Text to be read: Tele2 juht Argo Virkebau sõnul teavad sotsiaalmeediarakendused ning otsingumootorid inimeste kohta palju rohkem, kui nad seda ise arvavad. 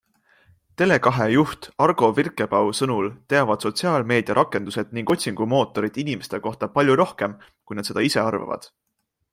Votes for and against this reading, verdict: 0, 2, rejected